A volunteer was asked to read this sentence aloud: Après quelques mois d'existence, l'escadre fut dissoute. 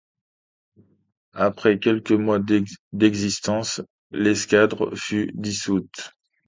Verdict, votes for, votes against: rejected, 0, 2